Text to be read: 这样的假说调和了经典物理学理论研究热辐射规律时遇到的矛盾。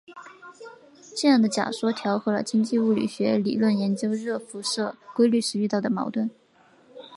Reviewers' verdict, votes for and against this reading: rejected, 1, 2